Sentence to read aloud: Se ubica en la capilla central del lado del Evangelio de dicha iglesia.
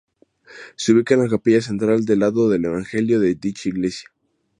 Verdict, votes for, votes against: accepted, 2, 0